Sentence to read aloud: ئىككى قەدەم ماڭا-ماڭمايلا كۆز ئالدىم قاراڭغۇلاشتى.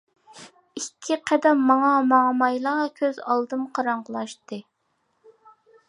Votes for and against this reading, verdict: 2, 0, accepted